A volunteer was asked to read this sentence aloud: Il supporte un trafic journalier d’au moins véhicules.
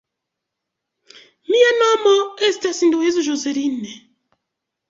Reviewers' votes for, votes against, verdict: 0, 2, rejected